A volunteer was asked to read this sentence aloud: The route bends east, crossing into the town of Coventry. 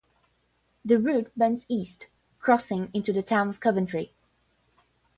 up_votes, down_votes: 5, 0